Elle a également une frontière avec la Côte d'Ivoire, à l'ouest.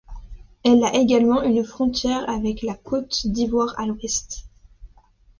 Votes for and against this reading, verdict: 2, 0, accepted